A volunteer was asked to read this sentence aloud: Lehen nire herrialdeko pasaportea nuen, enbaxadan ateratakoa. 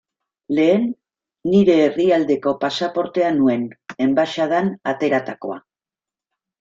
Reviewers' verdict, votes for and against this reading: accepted, 2, 0